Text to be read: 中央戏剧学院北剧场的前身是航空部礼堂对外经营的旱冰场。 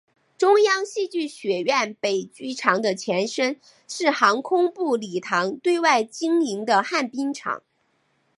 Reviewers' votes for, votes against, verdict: 4, 0, accepted